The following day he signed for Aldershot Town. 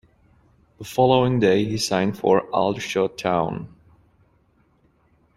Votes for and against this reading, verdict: 2, 0, accepted